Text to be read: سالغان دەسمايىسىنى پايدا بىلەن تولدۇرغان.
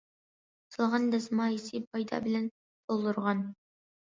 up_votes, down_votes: 1, 2